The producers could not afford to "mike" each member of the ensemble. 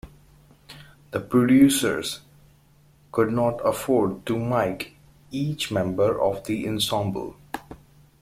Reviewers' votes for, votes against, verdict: 2, 0, accepted